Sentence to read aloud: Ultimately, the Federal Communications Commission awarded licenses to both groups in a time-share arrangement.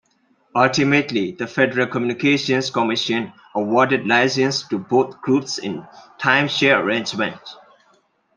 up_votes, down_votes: 0, 2